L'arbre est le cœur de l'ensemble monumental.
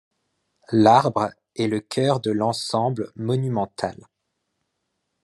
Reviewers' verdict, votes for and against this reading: accepted, 2, 0